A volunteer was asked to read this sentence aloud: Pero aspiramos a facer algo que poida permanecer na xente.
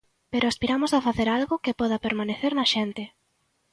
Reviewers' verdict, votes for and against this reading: rejected, 0, 2